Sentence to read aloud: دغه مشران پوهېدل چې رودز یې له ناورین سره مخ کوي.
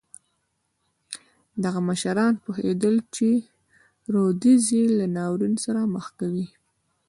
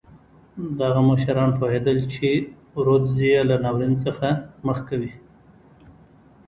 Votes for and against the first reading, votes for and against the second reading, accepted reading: 1, 2, 2, 0, second